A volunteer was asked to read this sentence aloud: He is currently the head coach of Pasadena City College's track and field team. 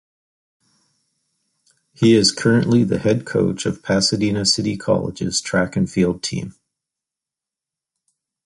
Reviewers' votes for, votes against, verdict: 2, 1, accepted